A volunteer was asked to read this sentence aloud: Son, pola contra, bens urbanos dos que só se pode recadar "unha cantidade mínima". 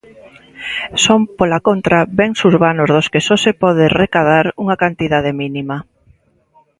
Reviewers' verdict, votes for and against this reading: accepted, 2, 0